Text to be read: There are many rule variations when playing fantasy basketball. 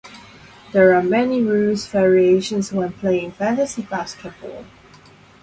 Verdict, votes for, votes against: rejected, 0, 2